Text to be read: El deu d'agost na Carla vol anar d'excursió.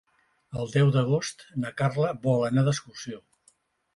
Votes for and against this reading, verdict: 2, 0, accepted